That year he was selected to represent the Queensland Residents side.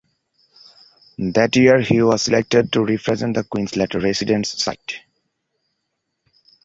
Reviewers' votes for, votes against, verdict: 1, 2, rejected